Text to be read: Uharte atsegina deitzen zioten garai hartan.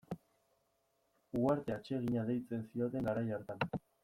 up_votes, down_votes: 2, 1